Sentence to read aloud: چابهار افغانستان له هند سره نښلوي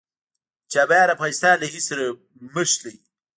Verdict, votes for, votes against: rejected, 1, 2